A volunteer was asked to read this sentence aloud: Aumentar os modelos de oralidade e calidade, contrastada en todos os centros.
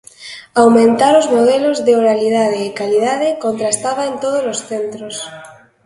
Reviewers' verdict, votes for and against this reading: accepted, 2, 0